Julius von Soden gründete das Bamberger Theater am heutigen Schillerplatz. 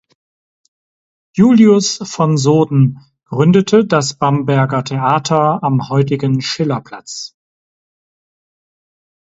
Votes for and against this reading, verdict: 4, 0, accepted